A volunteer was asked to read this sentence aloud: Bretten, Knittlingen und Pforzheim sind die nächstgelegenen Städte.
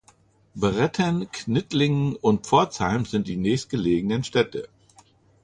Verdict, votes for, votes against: accepted, 2, 0